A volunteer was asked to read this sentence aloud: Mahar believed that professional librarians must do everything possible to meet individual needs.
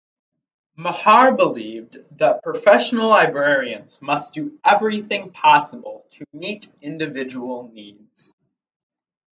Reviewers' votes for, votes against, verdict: 4, 0, accepted